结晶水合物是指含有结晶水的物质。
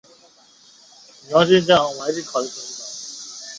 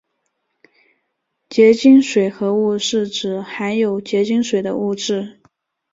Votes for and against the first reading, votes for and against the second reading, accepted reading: 0, 2, 4, 0, second